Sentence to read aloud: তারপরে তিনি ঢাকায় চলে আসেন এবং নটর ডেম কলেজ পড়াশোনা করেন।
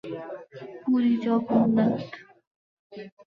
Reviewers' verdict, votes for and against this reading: rejected, 1, 18